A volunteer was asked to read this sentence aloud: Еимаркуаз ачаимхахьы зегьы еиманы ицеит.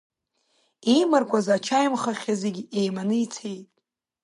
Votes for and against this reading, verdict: 2, 1, accepted